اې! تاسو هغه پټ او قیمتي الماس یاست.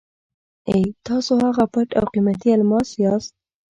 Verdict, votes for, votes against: accepted, 2, 0